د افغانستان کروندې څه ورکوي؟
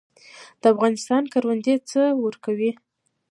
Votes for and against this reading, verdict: 1, 2, rejected